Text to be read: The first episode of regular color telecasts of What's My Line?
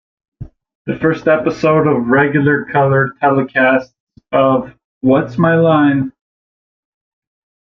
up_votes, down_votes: 2, 0